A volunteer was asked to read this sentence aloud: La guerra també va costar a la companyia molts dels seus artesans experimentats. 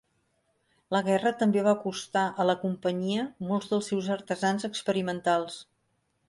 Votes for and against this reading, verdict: 0, 4, rejected